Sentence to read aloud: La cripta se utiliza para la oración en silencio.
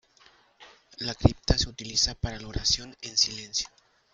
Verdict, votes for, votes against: accepted, 2, 1